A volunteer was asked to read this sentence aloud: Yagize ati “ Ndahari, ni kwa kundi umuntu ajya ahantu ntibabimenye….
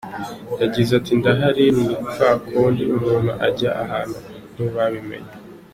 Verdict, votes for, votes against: accepted, 3, 0